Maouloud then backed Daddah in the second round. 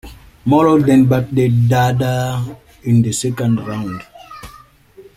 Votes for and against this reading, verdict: 1, 2, rejected